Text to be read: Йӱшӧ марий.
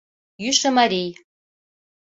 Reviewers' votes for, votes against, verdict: 2, 0, accepted